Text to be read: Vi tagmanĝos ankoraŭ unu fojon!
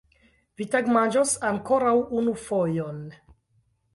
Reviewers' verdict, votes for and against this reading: accepted, 2, 0